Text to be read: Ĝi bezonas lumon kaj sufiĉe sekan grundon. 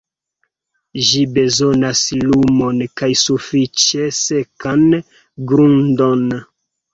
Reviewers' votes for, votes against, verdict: 0, 2, rejected